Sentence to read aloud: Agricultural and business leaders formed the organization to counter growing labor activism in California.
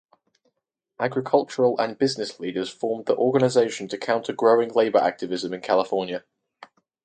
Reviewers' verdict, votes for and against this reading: rejected, 2, 2